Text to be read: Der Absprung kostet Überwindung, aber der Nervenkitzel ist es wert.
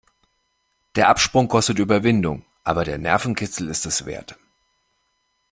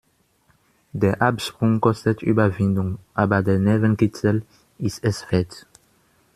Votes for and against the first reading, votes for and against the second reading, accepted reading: 2, 0, 1, 2, first